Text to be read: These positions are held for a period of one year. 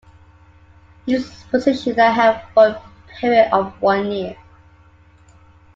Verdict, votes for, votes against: rejected, 0, 2